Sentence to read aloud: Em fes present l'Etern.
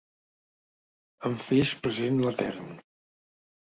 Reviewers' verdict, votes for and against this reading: rejected, 0, 2